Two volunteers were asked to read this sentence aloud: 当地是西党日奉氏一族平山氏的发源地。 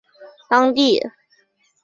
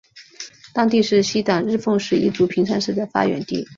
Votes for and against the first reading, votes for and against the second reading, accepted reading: 1, 2, 2, 0, second